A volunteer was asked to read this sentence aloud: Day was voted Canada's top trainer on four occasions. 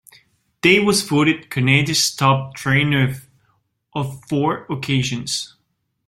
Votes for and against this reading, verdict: 0, 2, rejected